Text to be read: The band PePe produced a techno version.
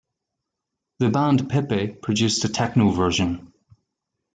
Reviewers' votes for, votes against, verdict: 2, 1, accepted